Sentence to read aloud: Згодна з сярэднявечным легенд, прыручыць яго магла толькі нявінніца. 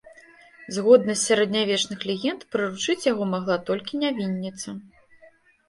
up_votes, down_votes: 1, 2